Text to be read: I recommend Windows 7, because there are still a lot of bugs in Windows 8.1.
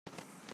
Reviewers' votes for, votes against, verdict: 0, 2, rejected